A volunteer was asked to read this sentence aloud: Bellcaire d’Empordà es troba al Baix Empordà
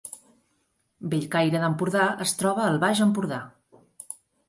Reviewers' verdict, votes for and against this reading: accepted, 2, 0